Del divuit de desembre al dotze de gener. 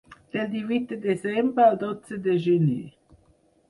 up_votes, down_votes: 4, 0